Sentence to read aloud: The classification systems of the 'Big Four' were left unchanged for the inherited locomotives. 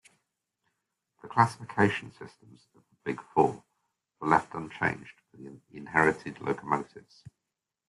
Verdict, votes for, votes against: accepted, 2, 0